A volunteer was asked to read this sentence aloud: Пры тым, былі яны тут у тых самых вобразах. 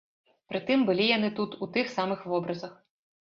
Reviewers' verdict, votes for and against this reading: accepted, 2, 0